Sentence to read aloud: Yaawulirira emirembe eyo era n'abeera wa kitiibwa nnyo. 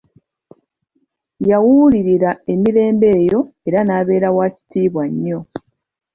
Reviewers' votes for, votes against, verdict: 2, 0, accepted